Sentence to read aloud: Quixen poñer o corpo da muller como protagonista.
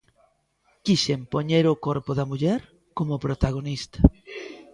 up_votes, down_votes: 2, 0